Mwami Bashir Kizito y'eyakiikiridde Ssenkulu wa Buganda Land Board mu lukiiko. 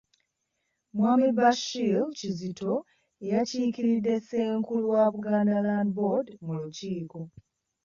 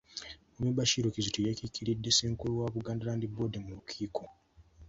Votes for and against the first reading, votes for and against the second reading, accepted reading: 1, 2, 2, 1, second